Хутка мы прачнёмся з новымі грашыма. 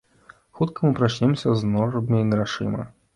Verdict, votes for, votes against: rejected, 1, 2